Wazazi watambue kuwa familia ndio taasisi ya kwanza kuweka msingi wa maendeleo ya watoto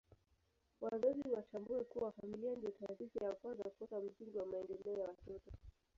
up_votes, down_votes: 1, 2